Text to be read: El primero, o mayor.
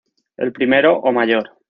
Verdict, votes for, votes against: accepted, 2, 0